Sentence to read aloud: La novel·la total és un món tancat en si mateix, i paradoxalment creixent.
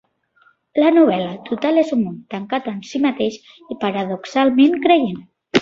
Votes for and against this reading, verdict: 0, 2, rejected